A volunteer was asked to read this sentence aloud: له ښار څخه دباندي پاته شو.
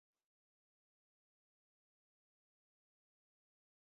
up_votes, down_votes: 1, 2